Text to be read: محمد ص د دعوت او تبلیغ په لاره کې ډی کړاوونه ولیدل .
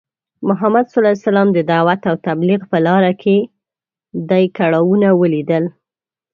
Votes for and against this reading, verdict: 1, 2, rejected